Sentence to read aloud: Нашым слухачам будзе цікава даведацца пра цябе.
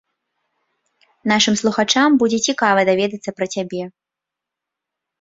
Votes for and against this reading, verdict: 2, 0, accepted